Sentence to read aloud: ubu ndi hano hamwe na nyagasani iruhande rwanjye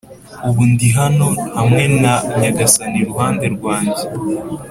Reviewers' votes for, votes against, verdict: 4, 0, accepted